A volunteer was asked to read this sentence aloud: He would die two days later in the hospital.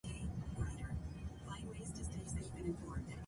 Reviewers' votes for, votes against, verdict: 0, 2, rejected